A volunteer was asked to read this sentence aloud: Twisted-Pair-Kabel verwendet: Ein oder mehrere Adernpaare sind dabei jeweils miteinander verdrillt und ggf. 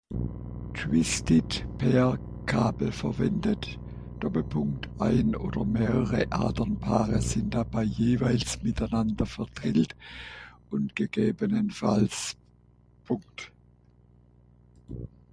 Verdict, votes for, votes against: rejected, 0, 6